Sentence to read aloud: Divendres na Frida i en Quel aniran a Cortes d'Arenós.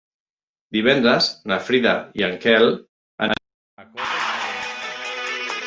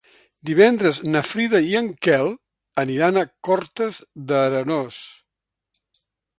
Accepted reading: second